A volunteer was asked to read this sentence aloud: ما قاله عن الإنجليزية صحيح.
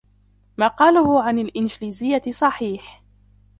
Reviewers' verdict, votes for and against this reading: rejected, 1, 2